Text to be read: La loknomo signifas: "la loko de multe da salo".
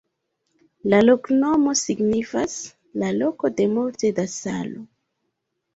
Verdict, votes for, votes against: accepted, 2, 1